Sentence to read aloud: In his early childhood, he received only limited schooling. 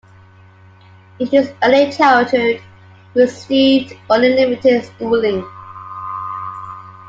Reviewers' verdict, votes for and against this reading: accepted, 2, 0